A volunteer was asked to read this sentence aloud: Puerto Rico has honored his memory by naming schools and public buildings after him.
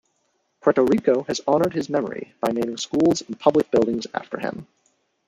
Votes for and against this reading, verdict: 1, 2, rejected